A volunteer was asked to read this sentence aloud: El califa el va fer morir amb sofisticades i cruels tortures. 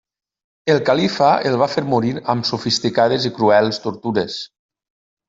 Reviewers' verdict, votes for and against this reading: rejected, 1, 2